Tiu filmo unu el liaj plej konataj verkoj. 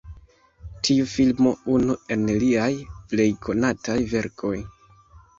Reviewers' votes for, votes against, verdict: 1, 2, rejected